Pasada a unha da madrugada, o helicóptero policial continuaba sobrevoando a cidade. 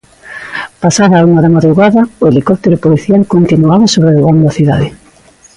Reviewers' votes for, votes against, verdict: 3, 0, accepted